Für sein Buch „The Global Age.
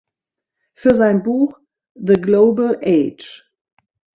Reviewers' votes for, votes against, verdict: 2, 0, accepted